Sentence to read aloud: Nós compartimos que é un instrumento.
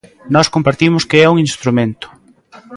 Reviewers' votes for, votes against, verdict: 1, 2, rejected